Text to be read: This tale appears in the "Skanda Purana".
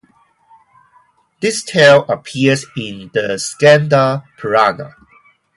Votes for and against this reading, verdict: 0, 2, rejected